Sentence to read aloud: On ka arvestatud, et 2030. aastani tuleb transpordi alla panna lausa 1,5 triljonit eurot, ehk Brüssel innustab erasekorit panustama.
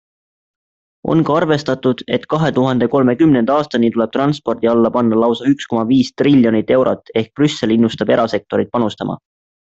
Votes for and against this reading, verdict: 0, 2, rejected